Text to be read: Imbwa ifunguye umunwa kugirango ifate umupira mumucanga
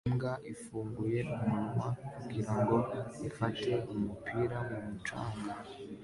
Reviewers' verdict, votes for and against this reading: accepted, 2, 0